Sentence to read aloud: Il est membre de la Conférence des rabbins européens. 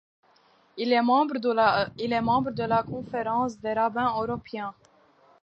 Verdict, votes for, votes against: rejected, 0, 2